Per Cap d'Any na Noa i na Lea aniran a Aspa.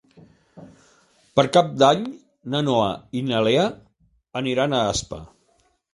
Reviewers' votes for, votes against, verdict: 2, 0, accepted